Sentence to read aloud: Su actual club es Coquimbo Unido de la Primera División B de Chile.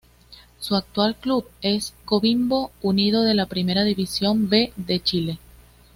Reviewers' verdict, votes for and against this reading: accepted, 2, 0